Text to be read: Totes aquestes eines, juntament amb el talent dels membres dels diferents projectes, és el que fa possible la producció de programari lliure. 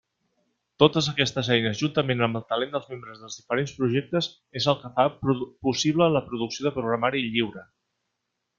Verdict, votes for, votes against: rejected, 0, 2